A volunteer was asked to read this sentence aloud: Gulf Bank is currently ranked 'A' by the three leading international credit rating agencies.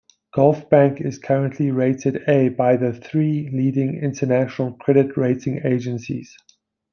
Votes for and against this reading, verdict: 0, 2, rejected